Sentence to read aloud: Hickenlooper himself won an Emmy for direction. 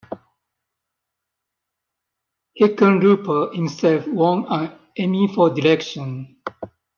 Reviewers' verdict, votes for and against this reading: accepted, 2, 0